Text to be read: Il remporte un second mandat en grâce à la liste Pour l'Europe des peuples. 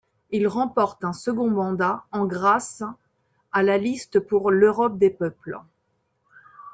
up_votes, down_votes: 2, 1